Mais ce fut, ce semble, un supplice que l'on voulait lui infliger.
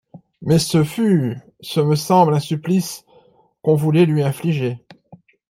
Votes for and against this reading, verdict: 0, 2, rejected